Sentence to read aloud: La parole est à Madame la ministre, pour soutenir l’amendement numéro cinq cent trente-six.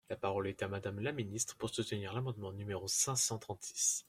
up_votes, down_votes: 2, 0